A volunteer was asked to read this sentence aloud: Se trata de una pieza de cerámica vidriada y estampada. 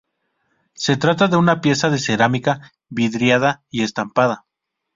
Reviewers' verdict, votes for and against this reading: accepted, 2, 0